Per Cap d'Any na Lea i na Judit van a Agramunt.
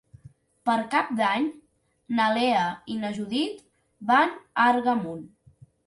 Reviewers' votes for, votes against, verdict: 0, 2, rejected